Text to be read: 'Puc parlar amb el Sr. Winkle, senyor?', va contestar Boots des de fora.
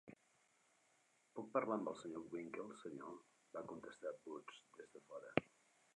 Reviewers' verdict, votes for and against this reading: accepted, 3, 1